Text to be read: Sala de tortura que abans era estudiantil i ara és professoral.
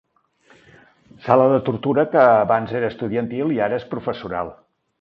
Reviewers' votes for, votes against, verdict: 3, 0, accepted